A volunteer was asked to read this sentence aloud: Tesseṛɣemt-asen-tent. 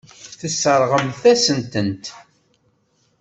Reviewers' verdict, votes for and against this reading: accepted, 2, 0